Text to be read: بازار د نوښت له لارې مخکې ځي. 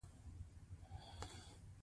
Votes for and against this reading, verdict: 1, 2, rejected